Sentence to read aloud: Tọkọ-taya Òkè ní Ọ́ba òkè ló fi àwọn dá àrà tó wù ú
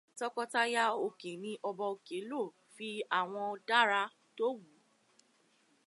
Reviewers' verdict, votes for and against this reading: rejected, 0, 2